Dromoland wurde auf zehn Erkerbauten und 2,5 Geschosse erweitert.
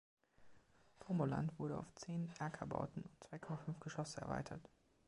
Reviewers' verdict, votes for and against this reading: rejected, 0, 2